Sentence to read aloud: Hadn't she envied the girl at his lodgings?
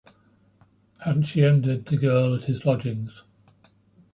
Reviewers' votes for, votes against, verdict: 1, 2, rejected